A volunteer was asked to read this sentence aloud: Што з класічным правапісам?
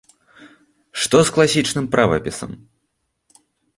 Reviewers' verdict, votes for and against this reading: accepted, 2, 0